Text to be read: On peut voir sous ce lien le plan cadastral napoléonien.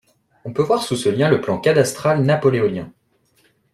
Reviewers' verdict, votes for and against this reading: accepted, 2, 0